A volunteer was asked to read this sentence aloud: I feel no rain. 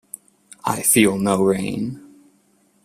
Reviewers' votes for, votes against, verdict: 2, 0, accepted